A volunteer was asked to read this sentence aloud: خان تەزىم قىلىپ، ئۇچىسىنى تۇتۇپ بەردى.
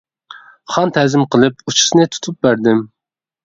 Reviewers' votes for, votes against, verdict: 1, 2, rejected